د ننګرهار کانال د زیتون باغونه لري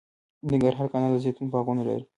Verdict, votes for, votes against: rejected, 1, 2